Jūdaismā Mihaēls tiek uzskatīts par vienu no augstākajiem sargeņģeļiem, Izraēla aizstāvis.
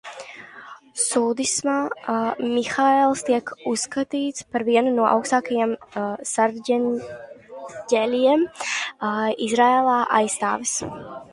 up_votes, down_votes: 0, 4